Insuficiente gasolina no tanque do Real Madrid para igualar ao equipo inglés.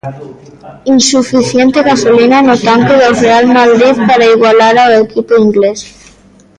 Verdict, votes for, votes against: rejected, 1, 2